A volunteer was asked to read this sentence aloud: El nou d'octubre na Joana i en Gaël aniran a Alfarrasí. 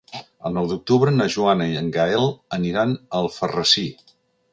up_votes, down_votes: 3, 0